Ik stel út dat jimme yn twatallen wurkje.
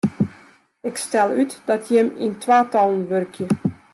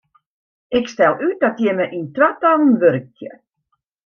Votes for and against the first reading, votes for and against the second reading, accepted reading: 0, 2, 2, 0, second